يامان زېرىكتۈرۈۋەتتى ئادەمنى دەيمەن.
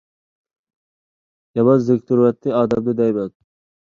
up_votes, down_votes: 1, 2